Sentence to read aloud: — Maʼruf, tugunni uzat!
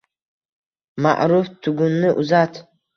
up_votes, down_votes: 2, 0